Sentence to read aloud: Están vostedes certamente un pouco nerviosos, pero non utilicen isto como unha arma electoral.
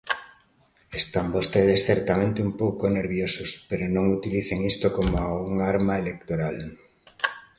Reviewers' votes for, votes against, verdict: 2, 0, accepted